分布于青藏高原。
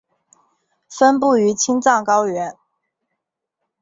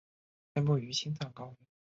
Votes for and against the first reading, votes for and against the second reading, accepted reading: 3, 2, 3, 4, first